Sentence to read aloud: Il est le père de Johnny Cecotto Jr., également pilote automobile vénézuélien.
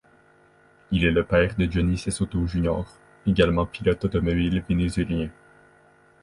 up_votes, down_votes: 2, 1